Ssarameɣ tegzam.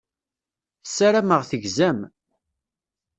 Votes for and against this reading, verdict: 2, 0, accepted